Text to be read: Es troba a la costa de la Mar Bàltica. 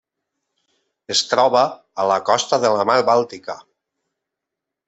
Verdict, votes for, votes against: accepted, 2, 0